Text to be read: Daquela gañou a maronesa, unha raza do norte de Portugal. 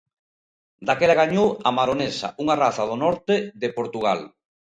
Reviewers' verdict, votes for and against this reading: accepted, 2, 0